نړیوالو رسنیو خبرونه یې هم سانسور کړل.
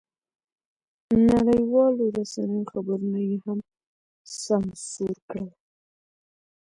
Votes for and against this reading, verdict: 2, 1, accepted